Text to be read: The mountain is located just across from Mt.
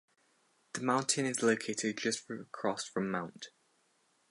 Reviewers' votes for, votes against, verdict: 2, 2, rejected